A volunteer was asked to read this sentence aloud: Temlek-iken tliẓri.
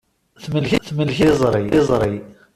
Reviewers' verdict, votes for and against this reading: rejected, 0, 2